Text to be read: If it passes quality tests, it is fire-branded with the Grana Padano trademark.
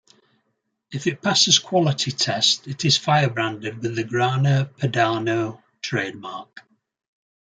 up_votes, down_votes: 2, 0